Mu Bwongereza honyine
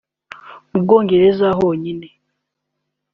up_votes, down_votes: 2, 0